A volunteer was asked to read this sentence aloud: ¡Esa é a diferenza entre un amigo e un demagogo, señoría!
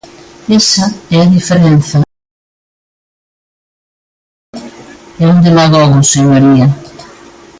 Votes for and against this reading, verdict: 0, 2, rejected